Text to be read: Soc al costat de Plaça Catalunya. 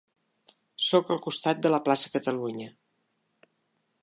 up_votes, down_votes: 0, 2